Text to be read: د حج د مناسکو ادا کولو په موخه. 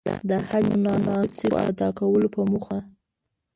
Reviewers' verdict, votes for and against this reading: rejected, 1, 2